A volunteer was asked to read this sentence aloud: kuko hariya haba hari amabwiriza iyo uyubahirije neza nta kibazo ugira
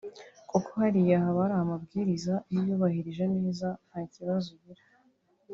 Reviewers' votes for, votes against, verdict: 1, 2, rejected